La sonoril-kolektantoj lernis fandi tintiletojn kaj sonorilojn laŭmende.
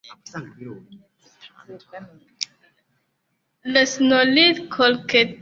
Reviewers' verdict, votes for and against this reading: rejected, 0, 2